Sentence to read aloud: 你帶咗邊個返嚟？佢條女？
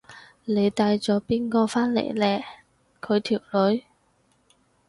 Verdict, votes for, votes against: rejected, 0, 4